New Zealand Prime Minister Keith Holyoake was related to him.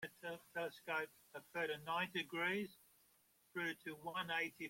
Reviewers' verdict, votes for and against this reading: rejected, 1, 2